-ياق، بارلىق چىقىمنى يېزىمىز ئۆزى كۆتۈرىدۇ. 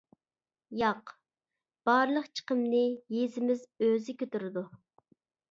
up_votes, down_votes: 2, 0